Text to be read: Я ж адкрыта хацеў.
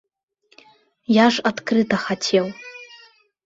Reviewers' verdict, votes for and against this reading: accepted, 2, 1